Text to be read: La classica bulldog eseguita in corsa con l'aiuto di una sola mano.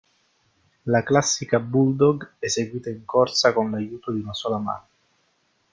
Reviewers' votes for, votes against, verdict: 2, 0, accepted